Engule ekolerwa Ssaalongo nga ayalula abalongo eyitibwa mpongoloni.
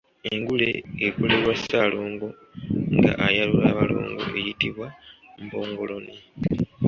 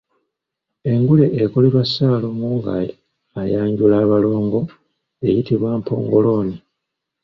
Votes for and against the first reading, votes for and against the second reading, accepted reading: 2, 0, 0, 2, first